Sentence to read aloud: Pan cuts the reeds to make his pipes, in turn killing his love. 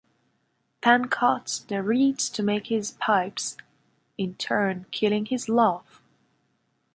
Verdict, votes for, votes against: rejected, 0, 2